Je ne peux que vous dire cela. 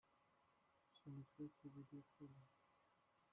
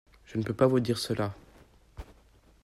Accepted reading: second